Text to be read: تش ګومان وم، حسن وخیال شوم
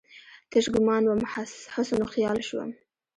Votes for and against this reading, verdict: 0, 2, rejected